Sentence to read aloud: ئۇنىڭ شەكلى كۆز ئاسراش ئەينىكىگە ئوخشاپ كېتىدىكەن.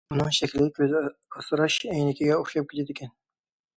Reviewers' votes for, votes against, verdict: 0, 2, rejected